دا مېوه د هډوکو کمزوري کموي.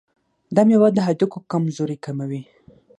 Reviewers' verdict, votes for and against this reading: rejected, 3, 6